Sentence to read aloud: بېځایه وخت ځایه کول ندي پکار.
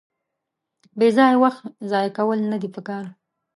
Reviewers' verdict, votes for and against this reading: accepted, 2, 0